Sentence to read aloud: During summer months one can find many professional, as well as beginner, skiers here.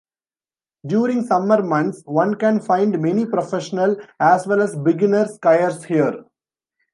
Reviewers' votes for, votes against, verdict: 1, 2, rejected